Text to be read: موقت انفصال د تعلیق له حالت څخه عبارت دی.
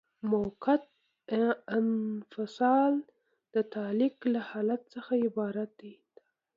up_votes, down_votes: 1, 2